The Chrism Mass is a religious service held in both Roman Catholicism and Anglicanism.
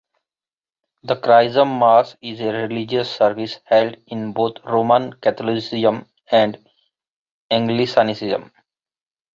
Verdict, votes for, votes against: rejected, 1, 2